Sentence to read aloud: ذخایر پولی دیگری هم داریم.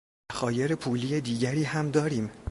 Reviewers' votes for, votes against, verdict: 1, 2, rejected